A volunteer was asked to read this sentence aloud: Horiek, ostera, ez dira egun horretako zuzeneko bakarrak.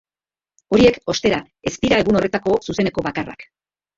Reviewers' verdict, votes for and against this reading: rejected, 2, 3